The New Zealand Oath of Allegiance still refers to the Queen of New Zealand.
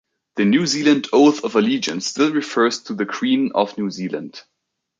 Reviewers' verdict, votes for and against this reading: accepted, 2, 1